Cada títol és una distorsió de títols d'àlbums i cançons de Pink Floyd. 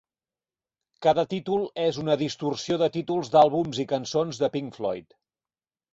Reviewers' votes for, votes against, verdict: 4, 0, accepted